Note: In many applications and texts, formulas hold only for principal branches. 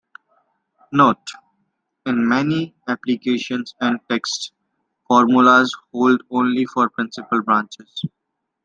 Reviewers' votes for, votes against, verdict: 2, 0, accepted